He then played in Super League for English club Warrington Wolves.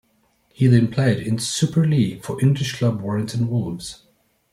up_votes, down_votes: 3, 0